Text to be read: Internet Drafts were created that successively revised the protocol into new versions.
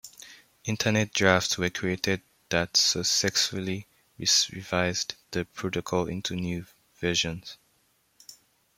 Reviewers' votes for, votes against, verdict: 0, 2, rejected